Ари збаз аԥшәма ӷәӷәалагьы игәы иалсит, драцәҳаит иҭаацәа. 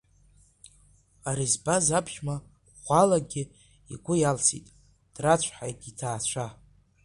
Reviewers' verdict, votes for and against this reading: accepted, 2, 0